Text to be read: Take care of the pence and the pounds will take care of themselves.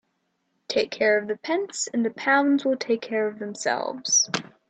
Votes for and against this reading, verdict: 2, 0, accepted